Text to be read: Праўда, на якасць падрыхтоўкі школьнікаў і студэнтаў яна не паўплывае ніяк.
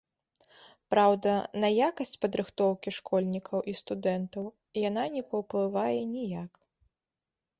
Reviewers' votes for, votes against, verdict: 2, 0, accepted